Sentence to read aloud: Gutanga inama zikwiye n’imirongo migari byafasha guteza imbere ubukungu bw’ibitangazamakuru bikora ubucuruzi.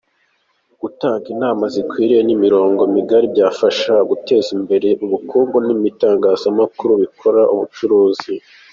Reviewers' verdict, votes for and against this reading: rejected, 3, 4